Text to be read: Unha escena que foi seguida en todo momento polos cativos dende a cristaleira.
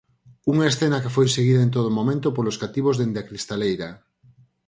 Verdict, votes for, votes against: accepted, 4, 0